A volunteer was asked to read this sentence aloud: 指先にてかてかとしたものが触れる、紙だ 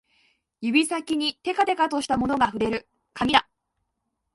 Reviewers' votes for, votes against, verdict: 1, 2, rejected